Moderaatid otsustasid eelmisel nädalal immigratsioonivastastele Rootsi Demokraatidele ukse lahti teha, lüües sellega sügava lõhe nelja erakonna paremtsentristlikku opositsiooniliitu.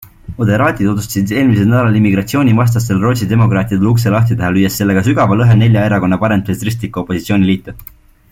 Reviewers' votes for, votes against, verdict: 2, 0, accepted